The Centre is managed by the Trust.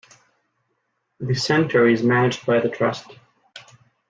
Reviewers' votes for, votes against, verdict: 2, 0, accepted